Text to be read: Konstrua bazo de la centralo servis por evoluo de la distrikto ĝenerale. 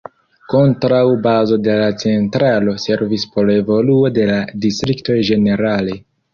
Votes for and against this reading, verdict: 0, 2, rejected